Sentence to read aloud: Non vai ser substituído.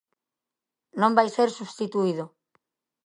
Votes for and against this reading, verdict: 2, 0, accepted